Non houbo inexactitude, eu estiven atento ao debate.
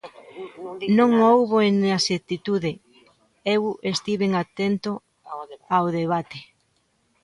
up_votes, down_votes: 0, 2